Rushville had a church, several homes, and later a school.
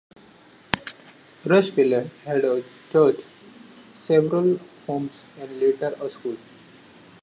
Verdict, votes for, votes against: accepted, 2, 0